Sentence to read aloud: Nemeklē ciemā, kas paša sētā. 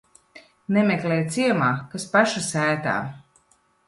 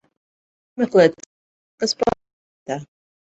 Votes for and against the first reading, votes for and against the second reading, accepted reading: 2, 0, 0, 2, first